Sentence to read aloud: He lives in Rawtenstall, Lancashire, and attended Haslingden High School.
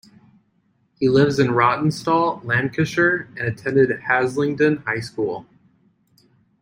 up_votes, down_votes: 2, 0